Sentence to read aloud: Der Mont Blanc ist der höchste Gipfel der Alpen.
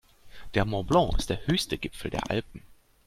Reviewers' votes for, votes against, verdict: 2, 0, accepted